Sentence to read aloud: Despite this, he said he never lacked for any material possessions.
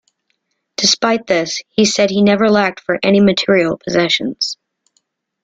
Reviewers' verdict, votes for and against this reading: accepted, 2, 0